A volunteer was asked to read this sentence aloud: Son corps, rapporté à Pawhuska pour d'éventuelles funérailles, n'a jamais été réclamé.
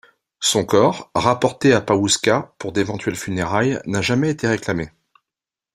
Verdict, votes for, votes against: accepted, 2, 0